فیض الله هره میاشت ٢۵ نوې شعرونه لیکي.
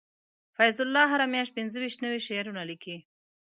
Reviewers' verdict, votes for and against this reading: rejected, 0, 2